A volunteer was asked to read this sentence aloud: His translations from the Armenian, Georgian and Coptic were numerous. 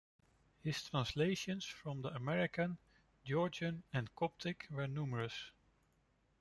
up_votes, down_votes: 0, 2